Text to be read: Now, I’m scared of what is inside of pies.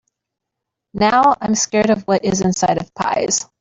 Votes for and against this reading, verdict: 2, 0, accepted